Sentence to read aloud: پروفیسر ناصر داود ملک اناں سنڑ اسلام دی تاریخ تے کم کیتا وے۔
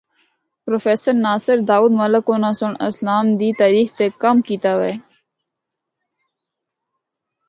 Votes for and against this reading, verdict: 2, 0, accepted